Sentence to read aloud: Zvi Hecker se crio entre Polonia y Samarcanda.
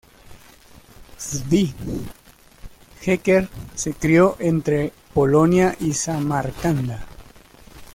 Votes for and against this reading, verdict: 0, 2, rejected